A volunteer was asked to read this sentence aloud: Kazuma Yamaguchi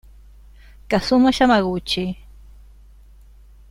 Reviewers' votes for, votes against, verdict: 2, 0, accepted